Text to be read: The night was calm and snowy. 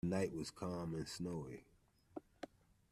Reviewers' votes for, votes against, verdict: 0, 2, rejected